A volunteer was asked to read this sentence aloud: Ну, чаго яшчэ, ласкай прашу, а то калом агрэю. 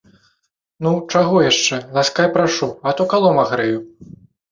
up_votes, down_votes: 2, 0